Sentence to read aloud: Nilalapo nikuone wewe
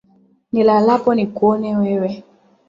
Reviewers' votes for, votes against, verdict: 2, 0, accepted